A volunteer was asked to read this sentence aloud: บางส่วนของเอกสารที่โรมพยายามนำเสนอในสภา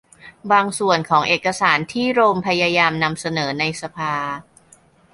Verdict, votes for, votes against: accepted, 2, 0